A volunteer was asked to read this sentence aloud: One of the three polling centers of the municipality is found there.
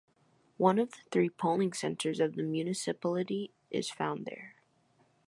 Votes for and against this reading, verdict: 0, 2, rejected